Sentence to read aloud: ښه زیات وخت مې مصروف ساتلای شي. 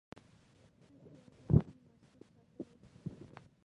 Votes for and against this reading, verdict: 0, 2, rejected